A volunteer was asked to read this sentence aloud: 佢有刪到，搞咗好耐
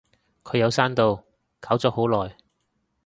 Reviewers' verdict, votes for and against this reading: accepted, 2, 0